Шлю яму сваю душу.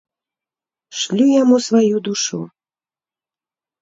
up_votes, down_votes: 2, 0